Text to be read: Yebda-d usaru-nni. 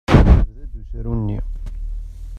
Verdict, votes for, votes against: rejected, 0, 2